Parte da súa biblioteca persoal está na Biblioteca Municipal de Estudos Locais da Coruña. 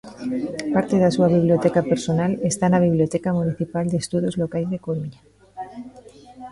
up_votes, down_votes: 1, 2